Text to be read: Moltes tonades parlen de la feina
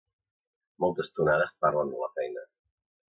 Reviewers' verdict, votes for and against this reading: accepted, 2, 0